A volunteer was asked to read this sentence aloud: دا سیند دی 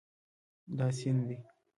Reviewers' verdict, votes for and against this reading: accepted, 2, 0